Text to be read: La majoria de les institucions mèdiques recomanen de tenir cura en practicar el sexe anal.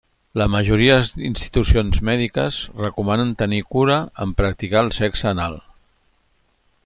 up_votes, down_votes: 0, 2